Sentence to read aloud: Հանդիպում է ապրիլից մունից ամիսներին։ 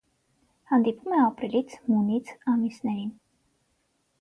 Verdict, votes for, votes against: rejected, 0, 6